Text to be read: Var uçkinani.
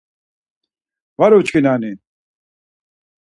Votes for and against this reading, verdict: 4, 0, accepted